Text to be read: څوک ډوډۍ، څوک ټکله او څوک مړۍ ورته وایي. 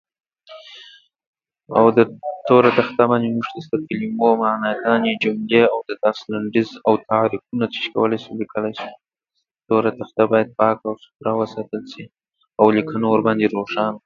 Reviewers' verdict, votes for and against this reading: rejected, 0, 2